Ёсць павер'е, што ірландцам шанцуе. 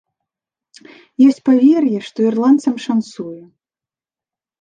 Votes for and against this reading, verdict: 2, 0, accepted